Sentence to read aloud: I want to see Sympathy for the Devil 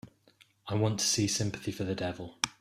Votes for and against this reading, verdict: 3, 0, accepted